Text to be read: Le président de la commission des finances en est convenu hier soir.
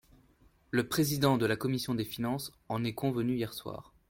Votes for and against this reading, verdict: 2, 0, accepted